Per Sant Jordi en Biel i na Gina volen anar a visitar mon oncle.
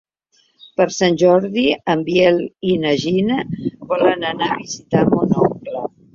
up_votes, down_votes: 2, 1